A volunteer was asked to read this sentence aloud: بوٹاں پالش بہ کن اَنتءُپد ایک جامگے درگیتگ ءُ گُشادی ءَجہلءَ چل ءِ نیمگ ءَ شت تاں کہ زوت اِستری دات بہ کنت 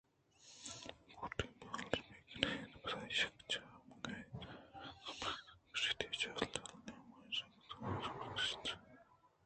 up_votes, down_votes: 0, 2